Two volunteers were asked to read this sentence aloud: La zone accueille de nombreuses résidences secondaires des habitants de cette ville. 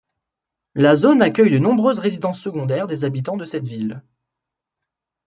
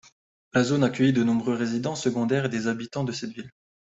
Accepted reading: first